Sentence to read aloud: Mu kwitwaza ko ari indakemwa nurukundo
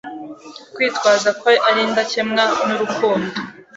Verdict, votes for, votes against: accepted, 2, 0